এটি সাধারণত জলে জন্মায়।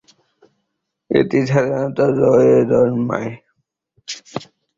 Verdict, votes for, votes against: rejected, 0, 2